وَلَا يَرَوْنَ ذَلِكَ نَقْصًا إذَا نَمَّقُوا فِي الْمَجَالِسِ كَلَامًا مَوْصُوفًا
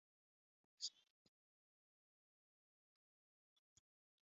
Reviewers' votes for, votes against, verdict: 0, 2, rejected